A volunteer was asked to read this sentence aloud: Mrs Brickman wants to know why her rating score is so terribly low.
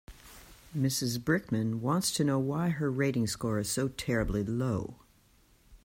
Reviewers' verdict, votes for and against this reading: accepted, 2, 0